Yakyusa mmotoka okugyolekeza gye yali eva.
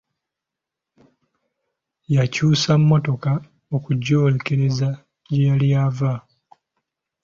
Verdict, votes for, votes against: accepted, 2, 1